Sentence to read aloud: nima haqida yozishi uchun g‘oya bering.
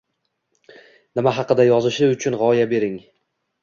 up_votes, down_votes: 2, 1